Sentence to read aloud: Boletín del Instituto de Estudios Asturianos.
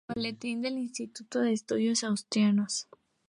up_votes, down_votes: 0, 2